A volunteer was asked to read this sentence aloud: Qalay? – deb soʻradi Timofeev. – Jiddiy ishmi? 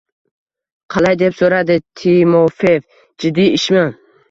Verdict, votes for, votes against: accepted, 2, 0